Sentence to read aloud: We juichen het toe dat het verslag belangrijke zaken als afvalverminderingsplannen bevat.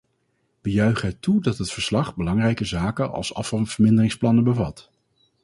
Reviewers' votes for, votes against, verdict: 0, 2, rejected